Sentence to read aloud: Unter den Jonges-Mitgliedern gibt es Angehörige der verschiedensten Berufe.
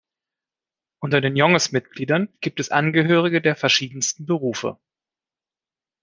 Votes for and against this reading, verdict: 2, 0, accepted